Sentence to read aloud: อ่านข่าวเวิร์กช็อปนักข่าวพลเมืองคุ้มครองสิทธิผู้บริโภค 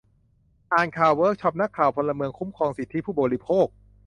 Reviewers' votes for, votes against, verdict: 2, 0, accepted